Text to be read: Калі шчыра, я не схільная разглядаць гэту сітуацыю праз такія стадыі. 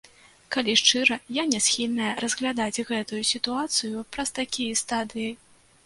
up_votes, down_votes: 0, 2